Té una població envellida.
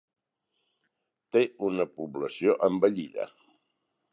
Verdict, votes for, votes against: accepted, 8, 0